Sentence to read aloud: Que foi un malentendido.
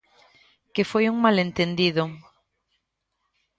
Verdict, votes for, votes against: accepted, 2, 0